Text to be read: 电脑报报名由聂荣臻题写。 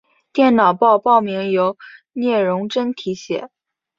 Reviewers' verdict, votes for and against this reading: accepted, 3, 1